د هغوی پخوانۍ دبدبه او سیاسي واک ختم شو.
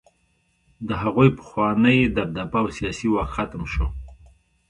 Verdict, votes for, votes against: accepted, 2, 0